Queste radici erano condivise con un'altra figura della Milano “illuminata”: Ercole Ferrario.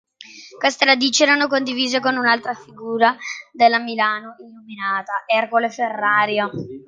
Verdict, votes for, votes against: rejected, 0, 2